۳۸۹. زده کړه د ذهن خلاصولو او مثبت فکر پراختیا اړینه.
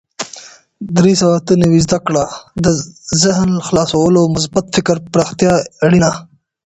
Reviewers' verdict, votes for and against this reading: rejected, 0, 2